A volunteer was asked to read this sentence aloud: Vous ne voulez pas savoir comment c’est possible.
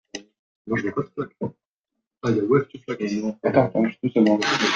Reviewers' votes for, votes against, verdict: 0, 2, rejected